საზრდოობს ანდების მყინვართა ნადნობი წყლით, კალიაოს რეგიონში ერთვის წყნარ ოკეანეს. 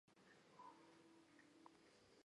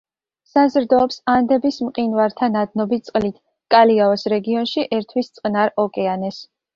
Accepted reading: second